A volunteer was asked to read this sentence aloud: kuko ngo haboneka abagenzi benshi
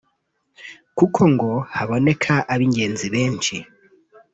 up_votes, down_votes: 1, 2